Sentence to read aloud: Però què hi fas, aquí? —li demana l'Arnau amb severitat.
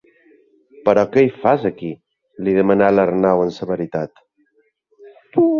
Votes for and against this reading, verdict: 2, 0, accepted